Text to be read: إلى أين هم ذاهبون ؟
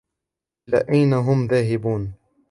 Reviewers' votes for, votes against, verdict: 1, 2, rejected